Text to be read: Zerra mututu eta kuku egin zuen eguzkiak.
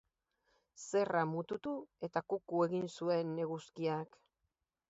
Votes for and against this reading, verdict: 2, 2, rejected